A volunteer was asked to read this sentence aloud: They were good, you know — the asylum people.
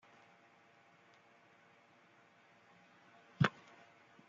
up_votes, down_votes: 0, 2